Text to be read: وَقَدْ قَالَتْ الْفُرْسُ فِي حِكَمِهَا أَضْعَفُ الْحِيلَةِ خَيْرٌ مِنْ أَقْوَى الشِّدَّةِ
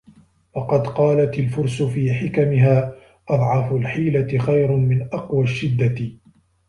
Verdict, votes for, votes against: rejected, 1, 2